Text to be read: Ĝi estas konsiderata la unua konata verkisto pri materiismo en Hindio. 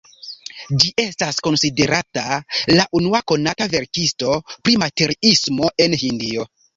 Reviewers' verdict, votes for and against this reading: accepted, 2, 1